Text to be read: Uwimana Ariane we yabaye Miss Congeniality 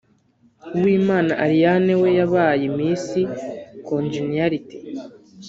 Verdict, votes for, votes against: rejected, 1, 2